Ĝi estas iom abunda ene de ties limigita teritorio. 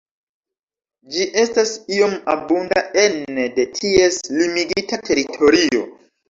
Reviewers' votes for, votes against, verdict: 0, 2, rejected